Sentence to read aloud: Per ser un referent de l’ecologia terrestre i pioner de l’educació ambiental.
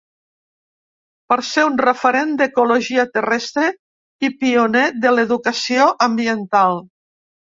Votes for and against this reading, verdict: 1, 2, rejected